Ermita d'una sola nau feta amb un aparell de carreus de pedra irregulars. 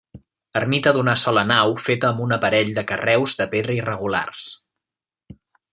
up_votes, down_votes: 2, 0